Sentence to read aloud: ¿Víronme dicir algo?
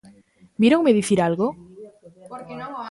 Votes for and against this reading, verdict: 2, 0, accepted